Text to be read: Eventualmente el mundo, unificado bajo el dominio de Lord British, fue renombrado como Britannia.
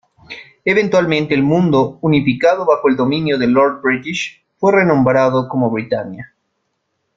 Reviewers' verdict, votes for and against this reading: accepted, 2, 0